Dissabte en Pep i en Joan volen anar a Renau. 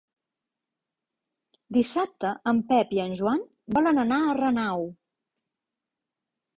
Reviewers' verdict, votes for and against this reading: accepted, 3, 1